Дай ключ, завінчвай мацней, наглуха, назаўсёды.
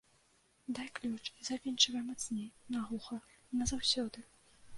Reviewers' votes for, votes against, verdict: 2, 0, accepted